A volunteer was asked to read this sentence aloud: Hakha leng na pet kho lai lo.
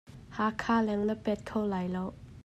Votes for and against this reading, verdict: 2, 0, accepted